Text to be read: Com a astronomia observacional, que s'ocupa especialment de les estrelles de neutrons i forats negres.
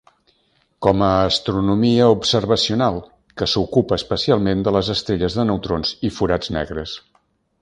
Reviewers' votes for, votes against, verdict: 2, 0, accepted